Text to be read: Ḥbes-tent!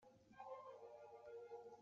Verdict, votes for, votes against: rejected, 1, 2